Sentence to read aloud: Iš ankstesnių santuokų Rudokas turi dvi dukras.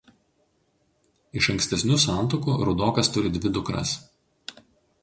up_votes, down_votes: 2, 0